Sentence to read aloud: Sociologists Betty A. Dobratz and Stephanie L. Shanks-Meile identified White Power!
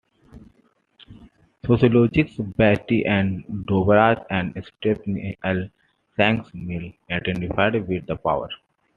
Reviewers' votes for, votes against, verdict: 0, 2, rejected